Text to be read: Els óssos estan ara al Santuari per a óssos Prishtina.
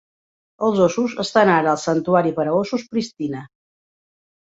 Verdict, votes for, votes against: accepted, 2, 1